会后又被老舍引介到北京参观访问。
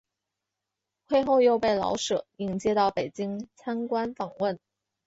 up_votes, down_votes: 4, 0